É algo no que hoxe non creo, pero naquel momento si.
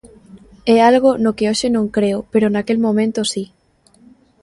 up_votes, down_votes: 2, 0